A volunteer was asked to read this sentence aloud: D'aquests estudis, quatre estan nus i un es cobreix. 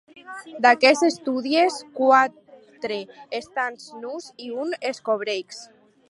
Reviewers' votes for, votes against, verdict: 2, 2, rejected